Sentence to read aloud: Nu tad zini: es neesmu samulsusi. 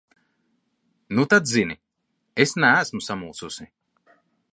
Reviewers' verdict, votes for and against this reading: accepted, 2, 0